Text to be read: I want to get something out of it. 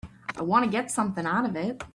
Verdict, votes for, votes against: accepted, 3, 0